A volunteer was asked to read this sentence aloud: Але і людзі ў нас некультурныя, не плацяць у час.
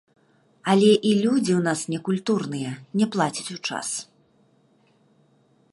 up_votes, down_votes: 2, 1